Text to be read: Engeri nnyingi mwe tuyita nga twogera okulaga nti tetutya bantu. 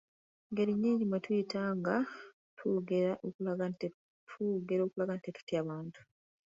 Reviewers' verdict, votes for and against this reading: rejected, 0, 2